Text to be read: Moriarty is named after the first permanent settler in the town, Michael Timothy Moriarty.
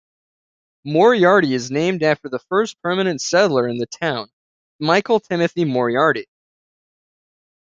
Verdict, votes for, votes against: accepted, 2, 0